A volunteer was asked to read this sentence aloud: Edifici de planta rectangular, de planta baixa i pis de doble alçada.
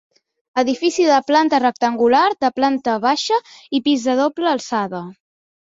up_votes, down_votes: 2, 0